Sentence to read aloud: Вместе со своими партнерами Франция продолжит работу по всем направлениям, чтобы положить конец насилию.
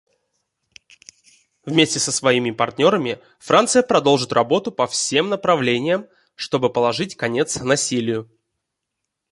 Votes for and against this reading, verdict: 2, 0, accepted